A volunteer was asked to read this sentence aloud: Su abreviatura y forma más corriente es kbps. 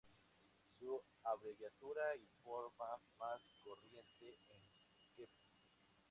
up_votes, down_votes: 0, 2